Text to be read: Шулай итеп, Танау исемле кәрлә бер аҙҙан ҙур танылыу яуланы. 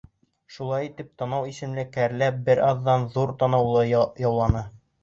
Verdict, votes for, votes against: accepted, 3, 0